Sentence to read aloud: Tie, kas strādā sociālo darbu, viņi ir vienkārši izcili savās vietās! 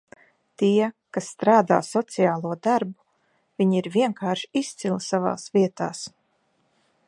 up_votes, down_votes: 2, 0